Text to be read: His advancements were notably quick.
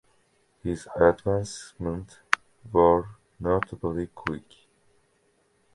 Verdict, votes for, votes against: accepted, 2, 0